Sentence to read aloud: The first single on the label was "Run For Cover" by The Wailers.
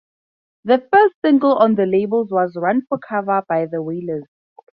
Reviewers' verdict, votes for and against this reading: accepted, 2, 0